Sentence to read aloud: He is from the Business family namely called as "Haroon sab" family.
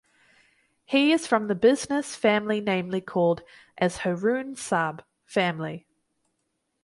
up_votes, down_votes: 2, 2